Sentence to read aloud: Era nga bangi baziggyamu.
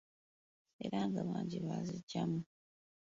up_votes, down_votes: 1, 2